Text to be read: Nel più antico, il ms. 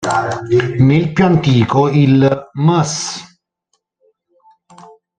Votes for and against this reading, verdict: 1, 2, rejected